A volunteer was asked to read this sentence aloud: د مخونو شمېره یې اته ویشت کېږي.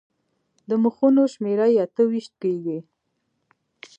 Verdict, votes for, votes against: accepted, 2, 0